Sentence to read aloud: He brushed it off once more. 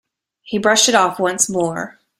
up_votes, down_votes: 2, 0